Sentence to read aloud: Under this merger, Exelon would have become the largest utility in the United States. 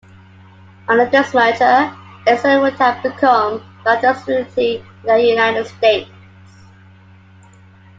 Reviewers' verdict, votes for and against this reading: rejected, 0, 2